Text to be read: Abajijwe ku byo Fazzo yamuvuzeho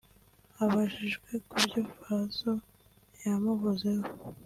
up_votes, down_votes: 2, 0